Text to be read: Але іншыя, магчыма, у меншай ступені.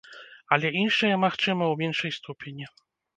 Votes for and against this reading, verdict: 1, 2, rejected